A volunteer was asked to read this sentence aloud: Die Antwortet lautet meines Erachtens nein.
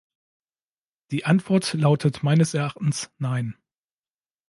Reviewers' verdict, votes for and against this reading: rejected, 0, 2